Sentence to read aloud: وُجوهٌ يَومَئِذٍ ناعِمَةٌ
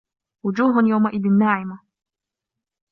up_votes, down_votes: 2, 0